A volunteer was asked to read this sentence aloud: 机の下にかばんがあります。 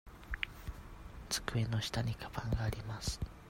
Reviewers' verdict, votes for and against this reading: accepted, 2, 0